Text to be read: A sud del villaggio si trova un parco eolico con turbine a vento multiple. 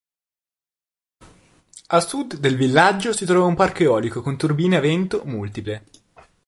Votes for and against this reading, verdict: 2, 0, accepted